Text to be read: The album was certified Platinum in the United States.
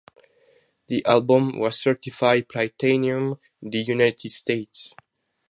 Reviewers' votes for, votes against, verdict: 2, 2, rejected